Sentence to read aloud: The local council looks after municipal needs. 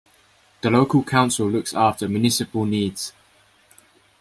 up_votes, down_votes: 2, 0